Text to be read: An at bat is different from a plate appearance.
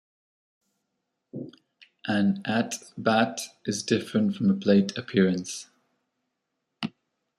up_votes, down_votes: 2, 0